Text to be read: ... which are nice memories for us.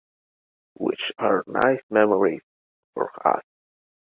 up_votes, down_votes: 1, 2